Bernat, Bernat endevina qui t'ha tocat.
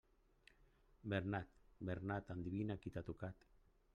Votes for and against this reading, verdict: 3, 1, accepted